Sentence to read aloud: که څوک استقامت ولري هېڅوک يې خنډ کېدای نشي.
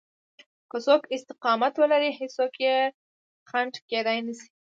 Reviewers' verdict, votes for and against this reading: accepted, 2, 0